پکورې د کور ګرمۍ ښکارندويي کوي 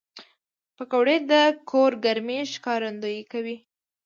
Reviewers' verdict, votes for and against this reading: rejected, 1, 2